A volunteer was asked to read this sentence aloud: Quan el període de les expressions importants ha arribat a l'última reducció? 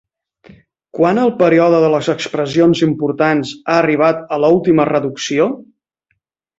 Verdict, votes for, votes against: rejected, 1, 2